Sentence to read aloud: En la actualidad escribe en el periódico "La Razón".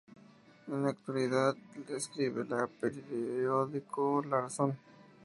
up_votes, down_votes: 0, 2